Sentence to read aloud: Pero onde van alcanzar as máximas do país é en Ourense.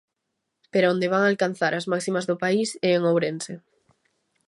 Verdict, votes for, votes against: accepted, 2, 0